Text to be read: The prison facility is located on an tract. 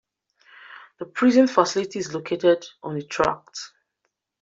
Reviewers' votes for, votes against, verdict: 2, 1, accepted